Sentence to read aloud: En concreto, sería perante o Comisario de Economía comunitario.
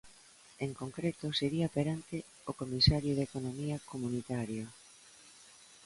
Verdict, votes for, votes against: accepted, 2, 0